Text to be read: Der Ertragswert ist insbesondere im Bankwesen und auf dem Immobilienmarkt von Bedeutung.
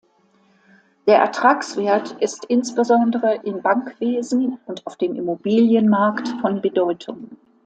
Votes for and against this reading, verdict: 2, 1, accepted